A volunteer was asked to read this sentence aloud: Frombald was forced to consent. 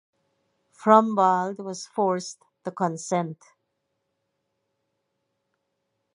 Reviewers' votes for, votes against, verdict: 2, 2, rejected